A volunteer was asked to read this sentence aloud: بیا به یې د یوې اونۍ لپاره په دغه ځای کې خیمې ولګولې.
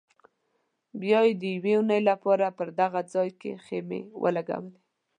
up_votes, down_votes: 2, 0